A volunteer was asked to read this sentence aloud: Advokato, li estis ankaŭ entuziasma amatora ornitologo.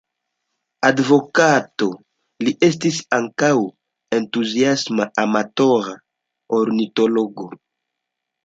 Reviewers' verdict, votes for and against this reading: rejected, 1, 2